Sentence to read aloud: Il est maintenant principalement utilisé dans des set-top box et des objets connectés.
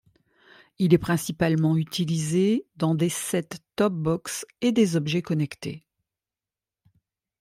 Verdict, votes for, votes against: rejected, 1, 2